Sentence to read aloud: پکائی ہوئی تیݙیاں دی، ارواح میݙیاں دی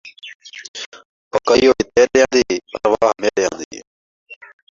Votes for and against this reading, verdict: 0, 2, rejected